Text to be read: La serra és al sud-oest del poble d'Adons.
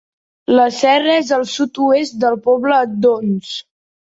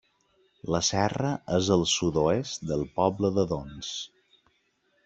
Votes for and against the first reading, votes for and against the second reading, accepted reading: 1, 2, 2, 0, second